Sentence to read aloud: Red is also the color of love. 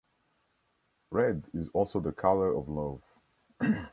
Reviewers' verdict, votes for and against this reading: accepted, 2, 0